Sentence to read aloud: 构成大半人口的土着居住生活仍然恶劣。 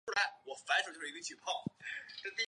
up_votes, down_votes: 0, 2